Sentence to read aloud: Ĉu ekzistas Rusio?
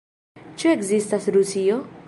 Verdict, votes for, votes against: accepted, 2, 0